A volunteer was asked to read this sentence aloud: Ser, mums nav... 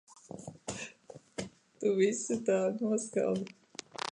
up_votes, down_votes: 0, 2